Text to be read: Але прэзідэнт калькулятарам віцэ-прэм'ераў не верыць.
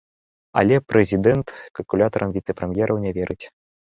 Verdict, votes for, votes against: accepted, 2, 0